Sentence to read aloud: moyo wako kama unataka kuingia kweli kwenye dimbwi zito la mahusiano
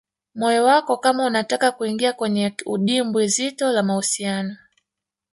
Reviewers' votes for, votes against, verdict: 0, 2, rejected